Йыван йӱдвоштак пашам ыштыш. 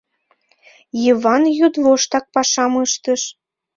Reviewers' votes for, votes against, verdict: 0, 2, rejected